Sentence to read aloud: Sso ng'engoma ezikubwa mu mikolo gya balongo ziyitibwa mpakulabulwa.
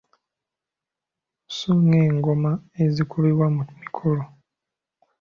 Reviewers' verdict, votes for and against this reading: rejected, 0, 2